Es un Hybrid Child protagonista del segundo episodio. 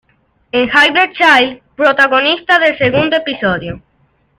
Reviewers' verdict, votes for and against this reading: accepted, 2, 1